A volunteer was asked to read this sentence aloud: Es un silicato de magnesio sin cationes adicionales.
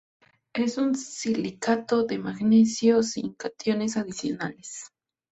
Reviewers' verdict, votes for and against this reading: accepted, 2, 0